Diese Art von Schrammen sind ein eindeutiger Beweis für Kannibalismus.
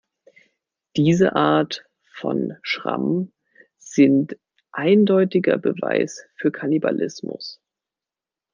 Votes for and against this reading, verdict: 1, 2, rejected